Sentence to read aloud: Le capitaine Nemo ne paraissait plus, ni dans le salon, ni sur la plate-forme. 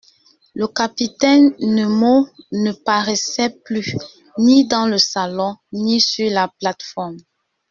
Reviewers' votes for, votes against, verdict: 1, 2, rejected